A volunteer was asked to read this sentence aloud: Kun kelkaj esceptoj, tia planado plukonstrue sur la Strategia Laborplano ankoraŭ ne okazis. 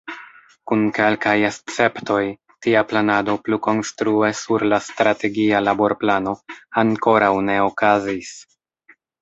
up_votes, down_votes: 0, 2